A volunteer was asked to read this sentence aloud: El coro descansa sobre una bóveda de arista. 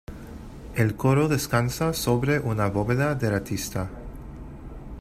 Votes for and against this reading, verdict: 0, 2, rejected